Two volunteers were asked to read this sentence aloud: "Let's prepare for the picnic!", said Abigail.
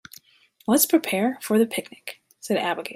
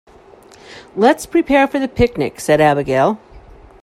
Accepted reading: second